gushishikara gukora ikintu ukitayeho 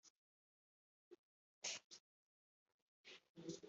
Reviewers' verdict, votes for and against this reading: accepted, 2, 0